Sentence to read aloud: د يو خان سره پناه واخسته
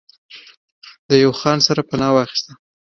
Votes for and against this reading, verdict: 2, 1, accepted